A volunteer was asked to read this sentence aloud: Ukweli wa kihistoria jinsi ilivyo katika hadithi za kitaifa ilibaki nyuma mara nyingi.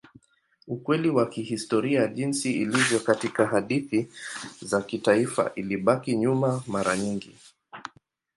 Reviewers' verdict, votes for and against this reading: accepted, 2, 0